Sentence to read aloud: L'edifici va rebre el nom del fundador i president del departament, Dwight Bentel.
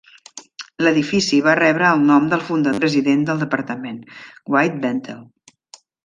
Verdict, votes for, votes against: rejected, 0, 2